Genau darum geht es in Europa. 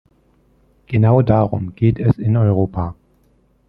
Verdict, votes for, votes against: accepted, 2, 0